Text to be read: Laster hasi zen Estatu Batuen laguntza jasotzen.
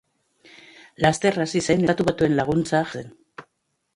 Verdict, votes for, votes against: rejected, 0, 2